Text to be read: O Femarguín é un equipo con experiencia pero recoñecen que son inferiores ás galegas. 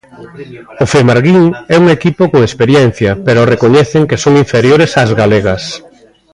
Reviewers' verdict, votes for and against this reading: rejected, 0, 2